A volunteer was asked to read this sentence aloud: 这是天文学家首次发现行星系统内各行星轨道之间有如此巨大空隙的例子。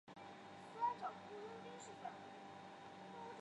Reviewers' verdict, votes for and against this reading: rejected, 0, 2